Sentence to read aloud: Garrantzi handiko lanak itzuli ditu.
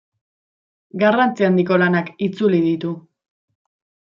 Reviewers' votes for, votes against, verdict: 2, 0, accepted